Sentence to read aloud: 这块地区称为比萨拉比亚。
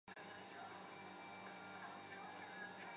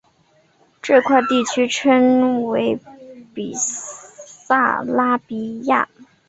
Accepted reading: second